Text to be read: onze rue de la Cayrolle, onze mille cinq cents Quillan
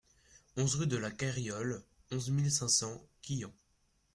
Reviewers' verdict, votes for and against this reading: rejected, 0, 2